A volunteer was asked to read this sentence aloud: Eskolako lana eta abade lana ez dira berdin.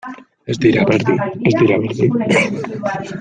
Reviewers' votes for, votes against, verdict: 0, 2, rejected